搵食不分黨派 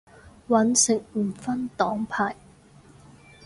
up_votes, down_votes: 0, 4